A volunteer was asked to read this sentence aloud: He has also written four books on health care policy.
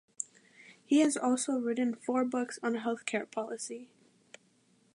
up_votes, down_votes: 2, 0